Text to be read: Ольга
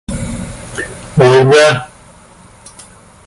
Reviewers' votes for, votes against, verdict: 0, 2, rejected